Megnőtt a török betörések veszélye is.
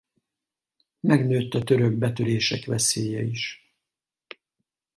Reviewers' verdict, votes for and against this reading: accepted, 4, 0